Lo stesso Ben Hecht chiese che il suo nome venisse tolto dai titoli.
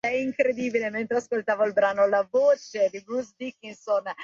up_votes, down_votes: 0, 2